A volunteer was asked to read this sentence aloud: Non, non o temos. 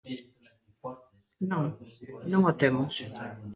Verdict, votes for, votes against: accepted, 2, 1